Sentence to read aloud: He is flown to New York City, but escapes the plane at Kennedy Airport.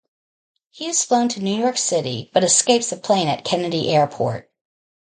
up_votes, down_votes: 0, 2